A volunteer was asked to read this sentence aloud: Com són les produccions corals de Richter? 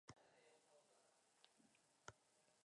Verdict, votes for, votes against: rejected, 0, 2